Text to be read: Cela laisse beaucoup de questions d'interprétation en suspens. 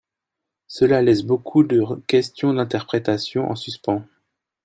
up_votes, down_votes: 1, 2